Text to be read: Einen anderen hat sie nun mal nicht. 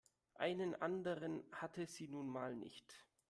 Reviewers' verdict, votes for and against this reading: rejected, 0, 2